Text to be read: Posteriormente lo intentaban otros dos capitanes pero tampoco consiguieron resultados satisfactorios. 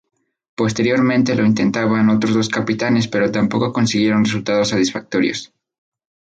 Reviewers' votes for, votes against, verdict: 2, 0, accepted